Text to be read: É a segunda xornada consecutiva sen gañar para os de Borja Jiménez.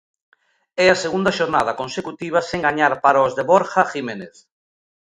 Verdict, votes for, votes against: accepted, 2, 0